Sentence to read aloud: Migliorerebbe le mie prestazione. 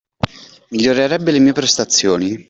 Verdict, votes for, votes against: accepted, 2, 0